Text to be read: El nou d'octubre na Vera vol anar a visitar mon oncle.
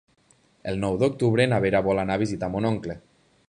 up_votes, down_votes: 3, 0